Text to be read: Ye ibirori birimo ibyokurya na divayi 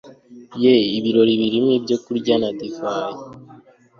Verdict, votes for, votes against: accepted, 2, 0